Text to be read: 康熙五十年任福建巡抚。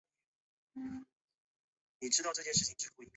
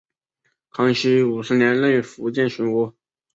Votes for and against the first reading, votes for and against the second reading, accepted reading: 0, 2, 4, 0, second